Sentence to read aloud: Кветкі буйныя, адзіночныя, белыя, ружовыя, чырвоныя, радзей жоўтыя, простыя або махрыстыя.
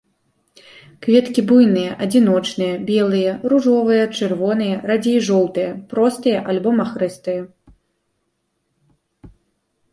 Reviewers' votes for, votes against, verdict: 0, 2, rejected